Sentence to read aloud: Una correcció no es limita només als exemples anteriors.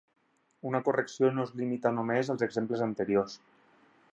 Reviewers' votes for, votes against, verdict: 4, 0, accepted